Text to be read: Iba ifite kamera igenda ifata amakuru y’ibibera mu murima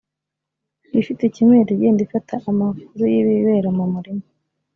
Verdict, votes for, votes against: rejected, 2, 3